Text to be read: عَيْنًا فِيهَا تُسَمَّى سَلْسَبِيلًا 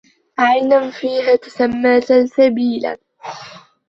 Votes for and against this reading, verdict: 2, 1, accepted